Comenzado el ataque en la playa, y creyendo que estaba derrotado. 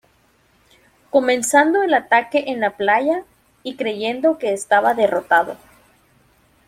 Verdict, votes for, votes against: accepted, 2, 1